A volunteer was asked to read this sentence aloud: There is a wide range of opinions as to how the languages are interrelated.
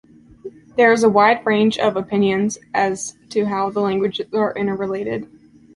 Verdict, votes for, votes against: rejected, 1, 2